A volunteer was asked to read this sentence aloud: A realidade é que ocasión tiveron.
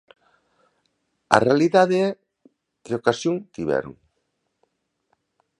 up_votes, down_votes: 2, 1